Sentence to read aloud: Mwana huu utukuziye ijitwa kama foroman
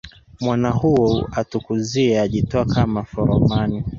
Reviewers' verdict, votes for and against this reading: rejected, 1, 2